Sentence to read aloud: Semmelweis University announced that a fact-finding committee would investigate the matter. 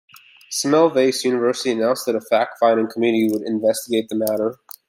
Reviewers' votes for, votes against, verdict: 2, 0, accepted